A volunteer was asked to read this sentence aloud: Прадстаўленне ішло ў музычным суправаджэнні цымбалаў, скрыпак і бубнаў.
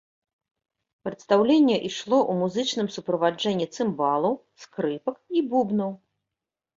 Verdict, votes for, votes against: accepted, 2, 0